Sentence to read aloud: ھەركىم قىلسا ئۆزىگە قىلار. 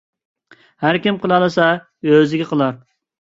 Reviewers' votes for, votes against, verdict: 1, 2, rejected